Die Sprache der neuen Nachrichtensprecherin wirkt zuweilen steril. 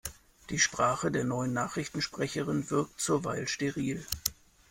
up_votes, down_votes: 1, 2